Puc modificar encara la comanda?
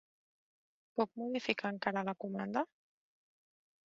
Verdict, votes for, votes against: rejected, 0, 2